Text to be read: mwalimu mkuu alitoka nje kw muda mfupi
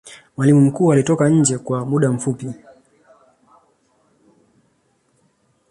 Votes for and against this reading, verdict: 2, 1, accepted